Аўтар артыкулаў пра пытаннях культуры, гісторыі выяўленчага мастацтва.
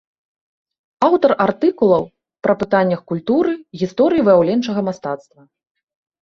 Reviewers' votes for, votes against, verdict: 2, 0, accepted